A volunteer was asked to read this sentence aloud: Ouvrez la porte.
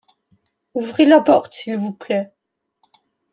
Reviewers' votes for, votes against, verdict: 0, 2, rejected